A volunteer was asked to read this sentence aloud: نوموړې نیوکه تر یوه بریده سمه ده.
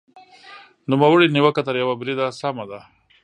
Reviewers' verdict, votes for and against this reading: accepted, 2, 0